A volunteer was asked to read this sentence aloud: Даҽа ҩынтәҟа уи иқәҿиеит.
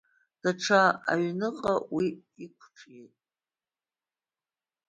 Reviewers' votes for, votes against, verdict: 0, 2, rejected